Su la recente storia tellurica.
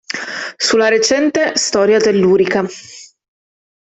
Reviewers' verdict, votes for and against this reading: accepted, 2, 0